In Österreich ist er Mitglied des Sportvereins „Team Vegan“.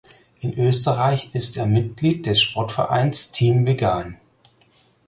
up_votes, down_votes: 4, 0